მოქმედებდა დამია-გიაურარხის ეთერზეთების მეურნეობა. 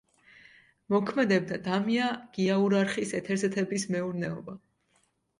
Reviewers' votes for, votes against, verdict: 2, 0, accepted